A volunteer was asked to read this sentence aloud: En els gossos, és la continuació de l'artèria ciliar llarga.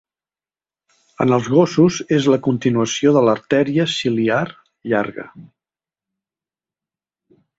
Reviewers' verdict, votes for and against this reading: accepted, 3, 0